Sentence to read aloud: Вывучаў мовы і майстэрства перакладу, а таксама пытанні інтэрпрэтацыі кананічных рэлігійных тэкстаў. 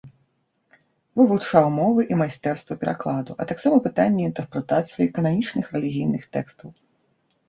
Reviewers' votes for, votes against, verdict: 2, 0, accepted